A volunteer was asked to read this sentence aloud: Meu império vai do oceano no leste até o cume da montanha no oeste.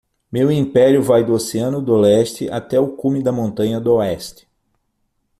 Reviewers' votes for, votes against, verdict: 3, 6, rejected